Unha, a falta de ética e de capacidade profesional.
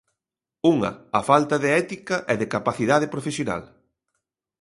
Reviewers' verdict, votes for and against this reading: accepted, 2, 0